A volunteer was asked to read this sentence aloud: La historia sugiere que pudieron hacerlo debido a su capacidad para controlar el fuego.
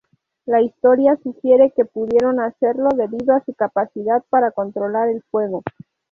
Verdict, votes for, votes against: accepted, 2, 0